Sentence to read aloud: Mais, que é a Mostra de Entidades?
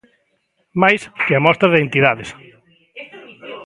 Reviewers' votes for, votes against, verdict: 0, 2, rejected